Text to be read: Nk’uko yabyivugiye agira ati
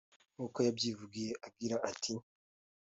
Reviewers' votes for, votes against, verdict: 2, 0, accepted